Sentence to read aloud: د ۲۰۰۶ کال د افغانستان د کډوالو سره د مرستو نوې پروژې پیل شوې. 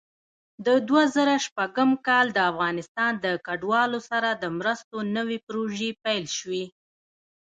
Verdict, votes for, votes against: rejected, 0, 2